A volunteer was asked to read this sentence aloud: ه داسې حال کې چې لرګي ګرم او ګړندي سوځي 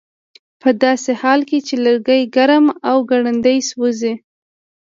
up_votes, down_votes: 2, 0